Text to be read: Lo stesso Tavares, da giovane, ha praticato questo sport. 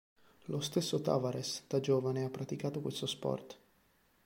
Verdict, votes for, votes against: accepted, 3, 0